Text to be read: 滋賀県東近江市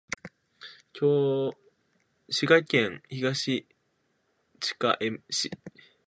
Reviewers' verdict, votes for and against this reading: rejected, 0, 2